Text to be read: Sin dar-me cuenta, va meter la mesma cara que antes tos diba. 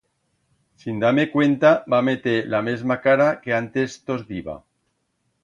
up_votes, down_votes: 2, 0